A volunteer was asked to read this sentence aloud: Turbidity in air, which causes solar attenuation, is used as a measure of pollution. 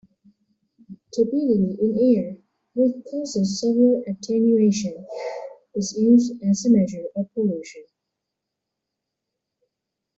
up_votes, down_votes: 1, 2